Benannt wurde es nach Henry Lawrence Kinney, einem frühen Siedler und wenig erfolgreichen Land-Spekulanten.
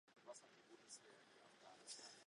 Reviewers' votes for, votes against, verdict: 0, 2, rejected